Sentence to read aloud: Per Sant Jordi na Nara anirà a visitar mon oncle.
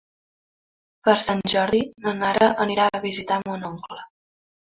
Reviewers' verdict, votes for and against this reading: accepted, 3, 1